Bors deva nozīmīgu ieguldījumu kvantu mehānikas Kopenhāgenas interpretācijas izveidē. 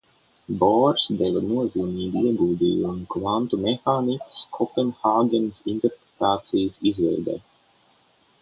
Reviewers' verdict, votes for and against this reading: rejected, 0, 3